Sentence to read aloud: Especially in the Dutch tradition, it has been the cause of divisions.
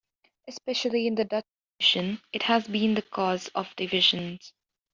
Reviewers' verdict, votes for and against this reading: accepted, 3, 1